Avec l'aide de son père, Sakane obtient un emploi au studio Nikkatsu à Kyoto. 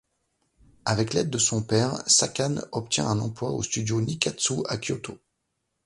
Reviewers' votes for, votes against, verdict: 2, 0, accepted